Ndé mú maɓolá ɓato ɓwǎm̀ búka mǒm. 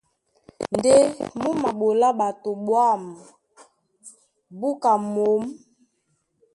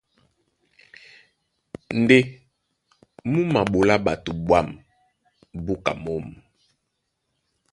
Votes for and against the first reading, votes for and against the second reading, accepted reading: 1, 2, 2, 0, second